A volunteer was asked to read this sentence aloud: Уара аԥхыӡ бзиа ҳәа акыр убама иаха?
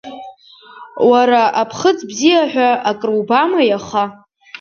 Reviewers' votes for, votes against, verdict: 2, 0, accepted